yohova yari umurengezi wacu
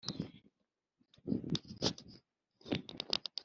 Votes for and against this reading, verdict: 1, 2, rejected